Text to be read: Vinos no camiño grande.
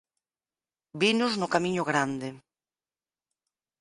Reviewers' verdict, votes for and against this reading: accepted, 4, 0